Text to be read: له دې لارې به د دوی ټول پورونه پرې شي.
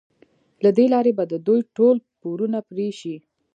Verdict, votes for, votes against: rejected, 1, 2